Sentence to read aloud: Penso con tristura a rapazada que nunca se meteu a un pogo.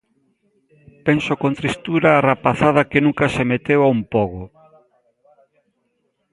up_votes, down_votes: 2, 0